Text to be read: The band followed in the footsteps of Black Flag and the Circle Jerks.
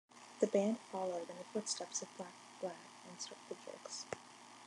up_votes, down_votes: 1, 2